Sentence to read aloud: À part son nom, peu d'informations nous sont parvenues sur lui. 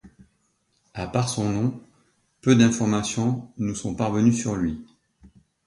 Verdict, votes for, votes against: accepted, 2, 0